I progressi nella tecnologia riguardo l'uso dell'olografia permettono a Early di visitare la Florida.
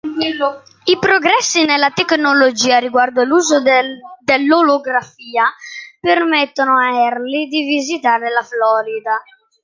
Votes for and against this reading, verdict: 0, 2, rejected